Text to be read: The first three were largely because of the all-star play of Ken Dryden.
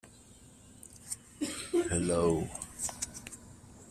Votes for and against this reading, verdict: 0, 2, rejected